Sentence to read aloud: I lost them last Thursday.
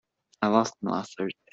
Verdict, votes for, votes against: rejected, 1, 2